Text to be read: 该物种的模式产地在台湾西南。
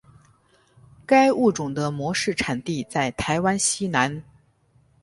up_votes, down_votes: 6, 0